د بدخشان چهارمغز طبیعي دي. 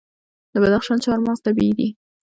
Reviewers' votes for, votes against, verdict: 1, 2, rejected